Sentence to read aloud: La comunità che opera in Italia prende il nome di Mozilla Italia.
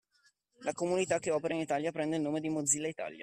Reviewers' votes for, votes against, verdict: 2, 1, accepted